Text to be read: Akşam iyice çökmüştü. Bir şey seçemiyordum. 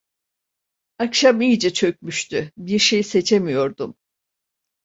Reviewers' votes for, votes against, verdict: 2, 0, accepted